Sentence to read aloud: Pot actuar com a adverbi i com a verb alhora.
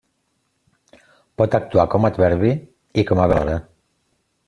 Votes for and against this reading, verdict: 0, 2, rejected